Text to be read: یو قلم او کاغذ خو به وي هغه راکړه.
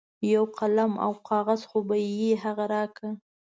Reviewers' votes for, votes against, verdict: 2, 0, accepted